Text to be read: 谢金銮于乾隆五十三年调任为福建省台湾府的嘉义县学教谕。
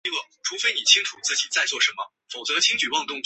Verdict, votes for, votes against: accepted, 3, 2